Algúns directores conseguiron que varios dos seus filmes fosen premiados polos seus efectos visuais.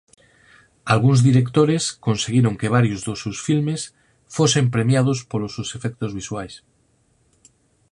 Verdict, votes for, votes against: accepted, 4, 0